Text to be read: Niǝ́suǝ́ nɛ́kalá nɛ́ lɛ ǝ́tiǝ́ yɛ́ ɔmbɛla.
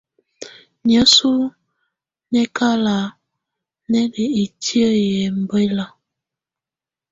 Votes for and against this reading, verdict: 2, 0, accepted